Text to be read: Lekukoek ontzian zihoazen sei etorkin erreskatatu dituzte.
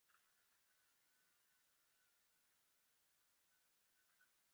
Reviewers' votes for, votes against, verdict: 0, 3, rejected